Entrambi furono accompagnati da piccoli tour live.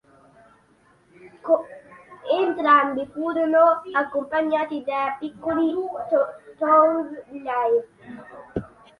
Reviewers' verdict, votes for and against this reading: rejected, 1, 2